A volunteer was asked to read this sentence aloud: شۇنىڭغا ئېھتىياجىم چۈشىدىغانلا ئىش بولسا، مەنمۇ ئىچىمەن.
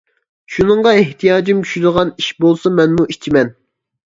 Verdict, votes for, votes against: rejected, 0, 2